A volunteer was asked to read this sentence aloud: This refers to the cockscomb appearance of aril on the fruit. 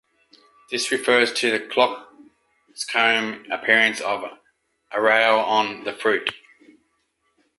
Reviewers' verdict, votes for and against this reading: rejected, 1, 2